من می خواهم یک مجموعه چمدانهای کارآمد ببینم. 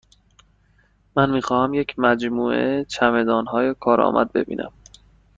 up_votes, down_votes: 2, 0